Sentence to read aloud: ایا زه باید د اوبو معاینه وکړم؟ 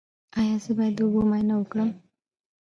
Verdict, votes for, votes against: rejected, 1, 2